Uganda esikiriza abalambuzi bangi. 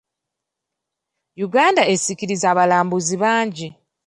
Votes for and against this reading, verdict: 1, 2, rejected